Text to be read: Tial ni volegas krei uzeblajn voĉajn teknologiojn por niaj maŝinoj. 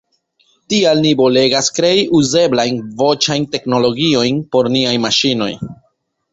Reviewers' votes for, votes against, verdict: 0, 2, rejected